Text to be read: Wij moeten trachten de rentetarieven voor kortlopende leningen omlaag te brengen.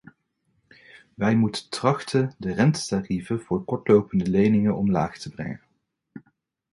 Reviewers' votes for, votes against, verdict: 2, 1, accepted